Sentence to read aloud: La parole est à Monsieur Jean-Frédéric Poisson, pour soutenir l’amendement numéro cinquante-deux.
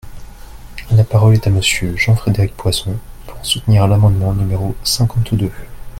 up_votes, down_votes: 2, 0